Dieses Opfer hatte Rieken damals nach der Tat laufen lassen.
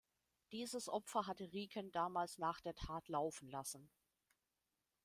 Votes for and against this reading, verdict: 2, 0, accepted